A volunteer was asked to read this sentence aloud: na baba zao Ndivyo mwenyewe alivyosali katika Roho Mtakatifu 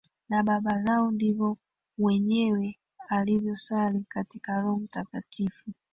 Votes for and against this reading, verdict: 1, 2, rejected